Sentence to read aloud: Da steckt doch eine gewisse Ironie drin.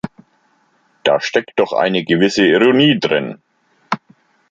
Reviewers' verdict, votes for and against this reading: accepted, 2, 1